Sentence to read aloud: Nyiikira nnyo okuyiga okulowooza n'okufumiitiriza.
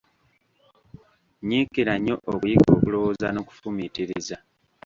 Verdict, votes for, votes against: rejected, 0, 2